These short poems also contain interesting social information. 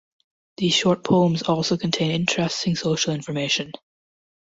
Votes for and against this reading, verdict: 2, 1, accepted